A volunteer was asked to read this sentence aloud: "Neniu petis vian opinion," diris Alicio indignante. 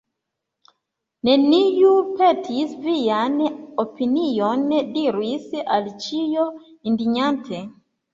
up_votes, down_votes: 2, 1